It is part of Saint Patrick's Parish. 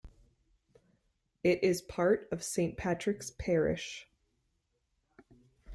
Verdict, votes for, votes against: accepted, 2, 0